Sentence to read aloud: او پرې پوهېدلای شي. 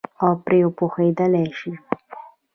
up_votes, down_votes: 0, 2